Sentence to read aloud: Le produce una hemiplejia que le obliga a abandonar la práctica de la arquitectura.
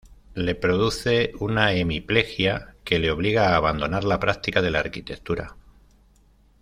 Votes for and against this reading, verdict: 2, 0, accepted